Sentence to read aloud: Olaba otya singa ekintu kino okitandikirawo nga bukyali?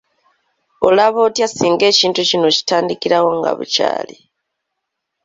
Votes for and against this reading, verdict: 2, 1, accepted